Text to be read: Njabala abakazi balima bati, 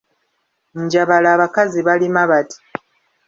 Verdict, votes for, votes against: accepted, 2, 1